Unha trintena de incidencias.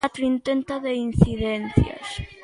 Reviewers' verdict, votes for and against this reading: rejected, 0, 2